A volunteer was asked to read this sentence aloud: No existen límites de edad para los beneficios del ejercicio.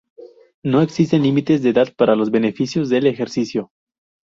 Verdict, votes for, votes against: accepted, 4, 0